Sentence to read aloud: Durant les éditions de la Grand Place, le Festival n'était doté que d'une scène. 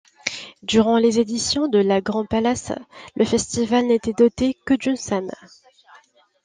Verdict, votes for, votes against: rejected, 0, 2